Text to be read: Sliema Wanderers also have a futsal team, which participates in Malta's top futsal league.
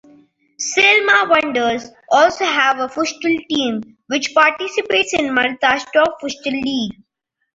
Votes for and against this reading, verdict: 0, 2, rejected